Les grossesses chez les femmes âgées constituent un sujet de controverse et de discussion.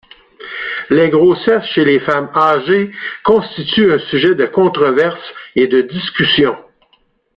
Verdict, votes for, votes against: rejected, 0, 2